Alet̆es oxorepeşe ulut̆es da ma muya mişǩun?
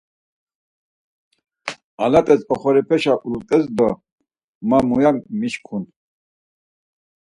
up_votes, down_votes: 4, 2